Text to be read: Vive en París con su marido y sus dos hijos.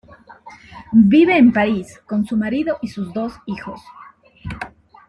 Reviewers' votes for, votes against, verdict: 1, 2, rejected